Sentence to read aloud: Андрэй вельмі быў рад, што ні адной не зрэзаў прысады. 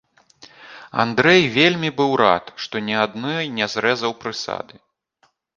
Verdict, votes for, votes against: accepted, 2, 0